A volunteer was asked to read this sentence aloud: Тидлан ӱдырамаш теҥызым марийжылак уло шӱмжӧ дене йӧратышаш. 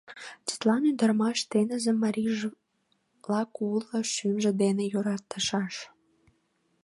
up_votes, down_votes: 0, 2